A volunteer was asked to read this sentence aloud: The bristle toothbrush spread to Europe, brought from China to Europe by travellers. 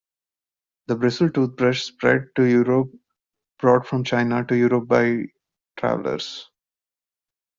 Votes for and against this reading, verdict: 2, 0, accepted